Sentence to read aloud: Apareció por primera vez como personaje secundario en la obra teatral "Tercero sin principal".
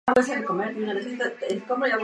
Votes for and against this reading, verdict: 0, 2, rejected